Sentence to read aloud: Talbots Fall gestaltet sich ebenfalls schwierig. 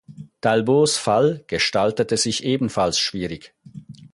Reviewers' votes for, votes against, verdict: 0, 4, rejected